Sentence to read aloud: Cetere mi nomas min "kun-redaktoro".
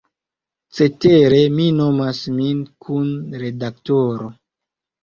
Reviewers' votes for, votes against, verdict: 2, 0, accepted